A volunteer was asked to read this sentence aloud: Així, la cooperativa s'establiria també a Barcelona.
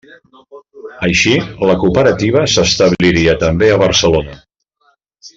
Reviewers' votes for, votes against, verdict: 3, 0, accepted